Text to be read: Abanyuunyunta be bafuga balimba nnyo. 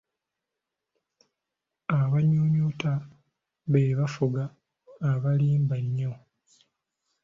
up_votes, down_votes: 1, 2